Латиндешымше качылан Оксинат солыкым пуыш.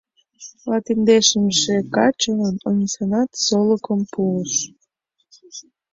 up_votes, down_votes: 1, 2